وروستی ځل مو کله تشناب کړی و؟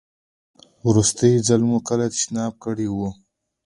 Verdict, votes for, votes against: accepted, 2, 0